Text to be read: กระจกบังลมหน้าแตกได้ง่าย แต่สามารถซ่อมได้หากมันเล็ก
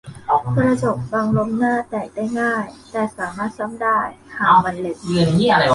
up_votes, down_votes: 0, 2